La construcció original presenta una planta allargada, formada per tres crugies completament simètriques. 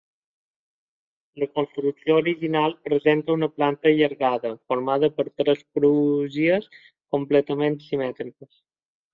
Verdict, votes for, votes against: rejected, 0, 2